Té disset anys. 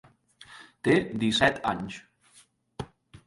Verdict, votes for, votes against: accepted, 3, 1